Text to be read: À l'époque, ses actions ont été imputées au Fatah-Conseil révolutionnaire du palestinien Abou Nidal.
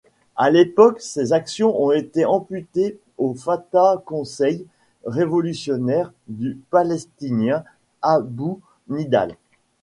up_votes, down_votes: 1, 2